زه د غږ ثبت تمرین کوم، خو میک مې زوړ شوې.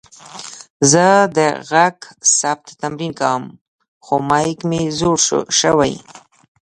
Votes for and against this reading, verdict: 1, 2, rejected